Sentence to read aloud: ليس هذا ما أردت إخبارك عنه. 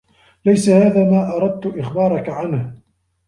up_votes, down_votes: 2, 0